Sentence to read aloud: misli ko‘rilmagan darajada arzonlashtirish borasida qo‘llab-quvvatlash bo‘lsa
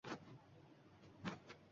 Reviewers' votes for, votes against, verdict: 1, 2, rejected